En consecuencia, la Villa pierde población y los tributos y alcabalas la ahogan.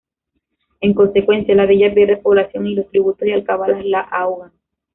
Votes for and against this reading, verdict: 0, 2, rejected